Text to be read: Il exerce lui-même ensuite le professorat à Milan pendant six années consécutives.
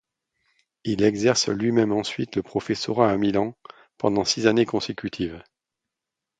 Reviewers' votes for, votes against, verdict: 2, 0, accepted